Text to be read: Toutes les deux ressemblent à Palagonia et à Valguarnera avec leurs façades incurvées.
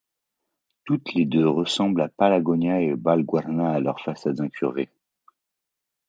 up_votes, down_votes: 0, 2